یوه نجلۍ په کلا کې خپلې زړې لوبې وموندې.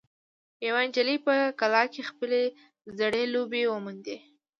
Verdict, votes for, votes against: rejected, 0, 2